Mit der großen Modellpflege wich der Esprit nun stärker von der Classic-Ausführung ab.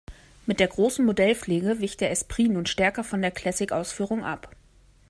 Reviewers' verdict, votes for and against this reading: accepted, 2, 0